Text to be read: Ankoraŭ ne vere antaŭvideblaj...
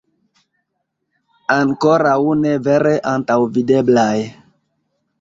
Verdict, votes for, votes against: accepted, 2, 0